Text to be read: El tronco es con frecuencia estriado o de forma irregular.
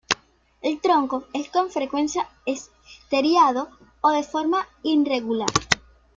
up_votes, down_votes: 0, 2